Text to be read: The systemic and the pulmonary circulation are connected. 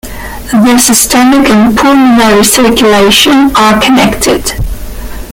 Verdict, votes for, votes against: rejected, 1, 2